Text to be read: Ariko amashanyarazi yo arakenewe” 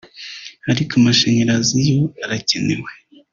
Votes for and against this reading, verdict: 1, 2, rejected